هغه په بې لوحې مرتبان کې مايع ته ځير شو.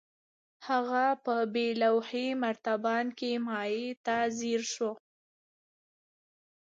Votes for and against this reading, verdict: 2, 1, accepted